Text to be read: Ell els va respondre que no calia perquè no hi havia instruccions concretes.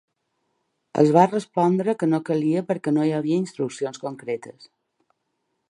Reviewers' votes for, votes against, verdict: 2, 3, rejected